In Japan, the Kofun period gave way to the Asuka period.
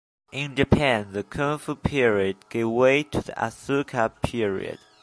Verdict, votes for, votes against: rejected, 0, 2